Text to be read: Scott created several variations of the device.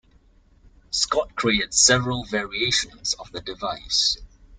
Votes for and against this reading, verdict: 0, 2, rejected